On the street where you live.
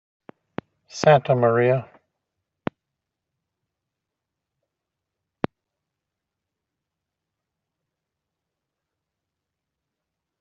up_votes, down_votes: 0, 3